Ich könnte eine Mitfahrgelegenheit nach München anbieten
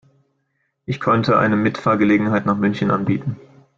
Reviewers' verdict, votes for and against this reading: accepted, 2, 0